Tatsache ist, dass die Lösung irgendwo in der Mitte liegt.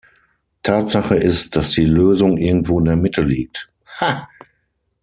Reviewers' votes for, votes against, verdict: 0, 6, rejected